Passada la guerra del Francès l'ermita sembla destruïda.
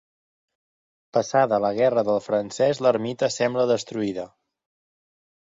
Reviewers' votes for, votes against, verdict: 4, 0, accepted